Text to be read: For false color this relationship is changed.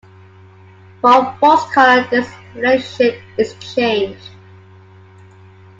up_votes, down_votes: 2, 0